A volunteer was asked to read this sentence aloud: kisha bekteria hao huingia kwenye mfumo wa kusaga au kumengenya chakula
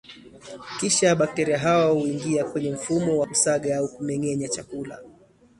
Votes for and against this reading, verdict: 2, 0, accepted